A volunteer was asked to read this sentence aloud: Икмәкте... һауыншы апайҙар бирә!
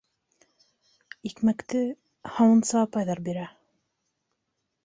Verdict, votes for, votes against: rejected, 0, 2